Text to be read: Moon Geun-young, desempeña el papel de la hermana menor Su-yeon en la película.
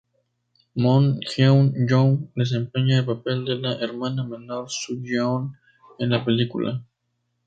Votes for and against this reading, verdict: 0, 2, rejected